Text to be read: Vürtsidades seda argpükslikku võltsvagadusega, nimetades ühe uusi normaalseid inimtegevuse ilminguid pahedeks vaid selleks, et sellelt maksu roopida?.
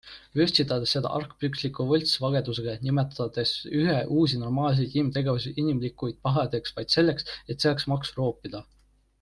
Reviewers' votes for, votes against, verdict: 0, 2, rejected